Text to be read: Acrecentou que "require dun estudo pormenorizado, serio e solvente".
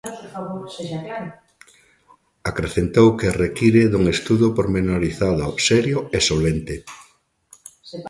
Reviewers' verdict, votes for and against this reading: rejected, 0, 2